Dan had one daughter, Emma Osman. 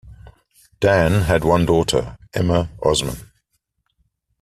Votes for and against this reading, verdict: 2, 0, accepted